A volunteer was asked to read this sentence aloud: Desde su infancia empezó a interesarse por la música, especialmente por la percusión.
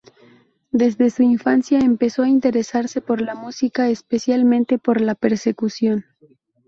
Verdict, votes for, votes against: rejected, 0, 2